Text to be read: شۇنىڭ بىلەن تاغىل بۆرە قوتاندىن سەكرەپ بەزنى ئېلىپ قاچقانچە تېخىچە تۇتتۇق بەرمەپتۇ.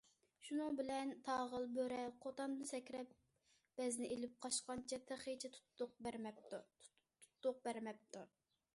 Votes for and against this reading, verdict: 0, 2, rejected